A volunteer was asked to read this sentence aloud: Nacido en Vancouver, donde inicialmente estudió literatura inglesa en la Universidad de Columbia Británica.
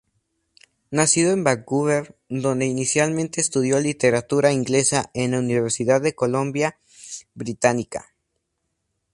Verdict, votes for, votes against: rejected, 0, 2